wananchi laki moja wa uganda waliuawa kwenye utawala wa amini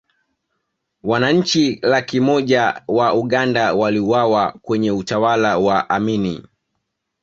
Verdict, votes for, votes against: accepted, 2, 0